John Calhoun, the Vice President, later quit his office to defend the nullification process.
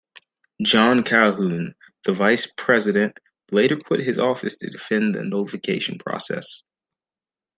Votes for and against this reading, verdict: 2, 0, accepted